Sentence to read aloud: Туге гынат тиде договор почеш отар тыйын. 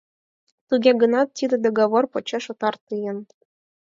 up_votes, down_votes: 4, 0